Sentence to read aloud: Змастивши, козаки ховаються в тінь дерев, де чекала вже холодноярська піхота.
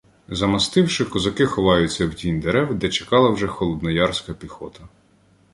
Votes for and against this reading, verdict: 1, 2, rejected